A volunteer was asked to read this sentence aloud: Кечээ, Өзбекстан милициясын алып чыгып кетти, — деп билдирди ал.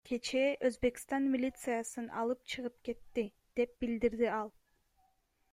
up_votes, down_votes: 2, 1